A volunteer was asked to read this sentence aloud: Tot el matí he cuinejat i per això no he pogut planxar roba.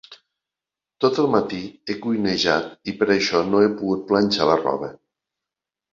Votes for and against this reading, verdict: 0, 2, rejected